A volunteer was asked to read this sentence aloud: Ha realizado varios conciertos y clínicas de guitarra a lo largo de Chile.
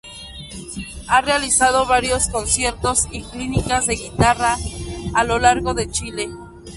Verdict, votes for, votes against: rejected, 0, 2